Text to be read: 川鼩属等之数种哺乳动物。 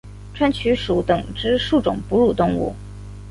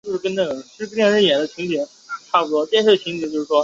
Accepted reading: first